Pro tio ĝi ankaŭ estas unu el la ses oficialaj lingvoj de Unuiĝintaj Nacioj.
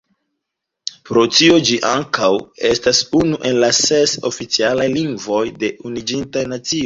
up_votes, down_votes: 0, 2